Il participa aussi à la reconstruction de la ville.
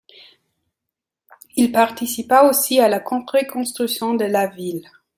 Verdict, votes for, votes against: rejected, 0, 2